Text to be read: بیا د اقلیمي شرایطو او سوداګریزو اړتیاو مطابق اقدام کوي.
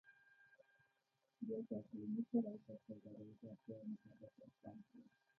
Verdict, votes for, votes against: rejected, 0, 2